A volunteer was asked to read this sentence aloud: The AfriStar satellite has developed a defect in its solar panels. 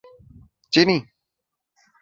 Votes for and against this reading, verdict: 0, 2, rejected